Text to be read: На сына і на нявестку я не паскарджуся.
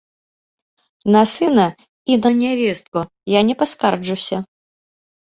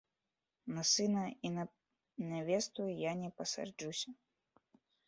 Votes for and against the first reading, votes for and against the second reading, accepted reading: 2, 0, 1, 2, first